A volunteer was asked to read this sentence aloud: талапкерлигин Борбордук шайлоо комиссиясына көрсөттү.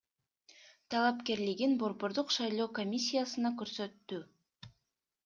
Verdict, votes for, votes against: accepted, 2, 0